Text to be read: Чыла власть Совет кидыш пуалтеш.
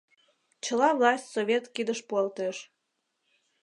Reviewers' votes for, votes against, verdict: 2, 0, accepted